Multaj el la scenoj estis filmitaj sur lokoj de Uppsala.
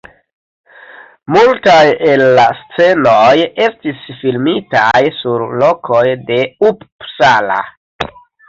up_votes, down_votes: 0, 2